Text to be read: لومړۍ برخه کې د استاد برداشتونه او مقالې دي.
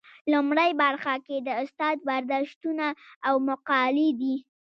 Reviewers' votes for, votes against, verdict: 2, 0, accepted